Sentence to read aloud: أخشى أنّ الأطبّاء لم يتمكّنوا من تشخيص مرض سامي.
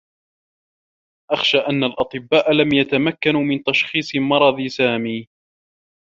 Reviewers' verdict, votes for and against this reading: rejected, 1, 2